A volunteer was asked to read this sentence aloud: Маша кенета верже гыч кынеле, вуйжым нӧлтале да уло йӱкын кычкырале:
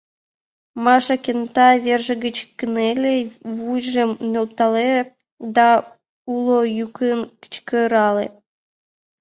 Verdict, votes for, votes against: rejected, 2, 5